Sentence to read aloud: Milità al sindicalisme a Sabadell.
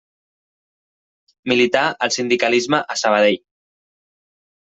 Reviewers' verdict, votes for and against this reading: accepted, 2, 0